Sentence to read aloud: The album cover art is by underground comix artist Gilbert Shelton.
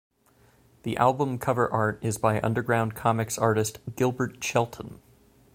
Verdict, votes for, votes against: accepted, 2, 0